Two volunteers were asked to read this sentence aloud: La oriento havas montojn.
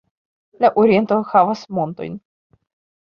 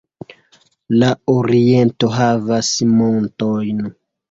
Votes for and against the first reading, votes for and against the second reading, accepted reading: 2, 0, 1, 2, first